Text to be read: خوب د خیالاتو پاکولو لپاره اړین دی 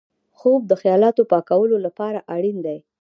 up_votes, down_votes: 0, 2